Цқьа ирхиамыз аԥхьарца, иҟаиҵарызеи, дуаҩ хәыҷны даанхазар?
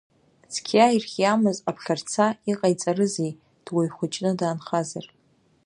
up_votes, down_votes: 2, 0